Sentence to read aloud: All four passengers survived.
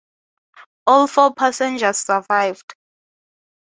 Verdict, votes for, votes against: accepted, 2, 0